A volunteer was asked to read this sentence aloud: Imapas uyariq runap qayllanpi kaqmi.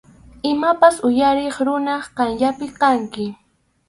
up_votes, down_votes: 0, 4